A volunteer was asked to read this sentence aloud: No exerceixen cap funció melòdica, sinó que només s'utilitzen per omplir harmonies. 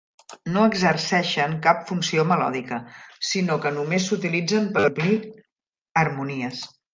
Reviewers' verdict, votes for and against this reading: rejected, 1, 2